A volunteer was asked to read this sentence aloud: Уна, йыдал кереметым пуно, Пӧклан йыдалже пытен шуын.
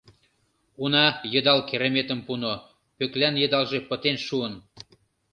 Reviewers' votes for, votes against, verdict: 2, 0, accepted